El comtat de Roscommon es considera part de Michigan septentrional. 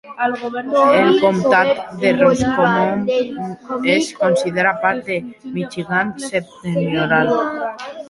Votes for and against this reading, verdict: 0, 2, rejected